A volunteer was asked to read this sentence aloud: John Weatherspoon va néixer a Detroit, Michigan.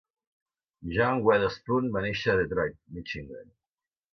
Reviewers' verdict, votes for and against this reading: accepted, 2, 0